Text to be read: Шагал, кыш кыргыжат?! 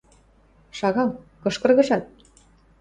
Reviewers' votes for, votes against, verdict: 2, 0, accepted